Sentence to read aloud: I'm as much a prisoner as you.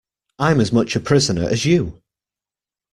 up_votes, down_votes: 2, 0